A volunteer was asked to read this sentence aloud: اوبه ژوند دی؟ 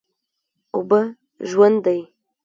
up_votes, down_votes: 1, 2